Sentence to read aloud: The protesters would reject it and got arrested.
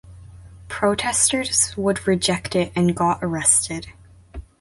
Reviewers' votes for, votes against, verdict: 0, 2, rejected